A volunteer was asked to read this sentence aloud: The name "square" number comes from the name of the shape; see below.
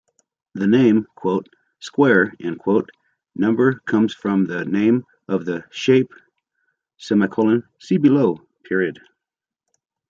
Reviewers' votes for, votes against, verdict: 0, 2, rejected